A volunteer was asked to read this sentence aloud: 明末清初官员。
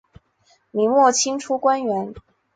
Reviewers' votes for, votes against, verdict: 2, 0, accepted